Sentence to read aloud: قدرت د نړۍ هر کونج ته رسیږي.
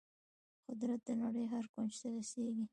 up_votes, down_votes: 0, 2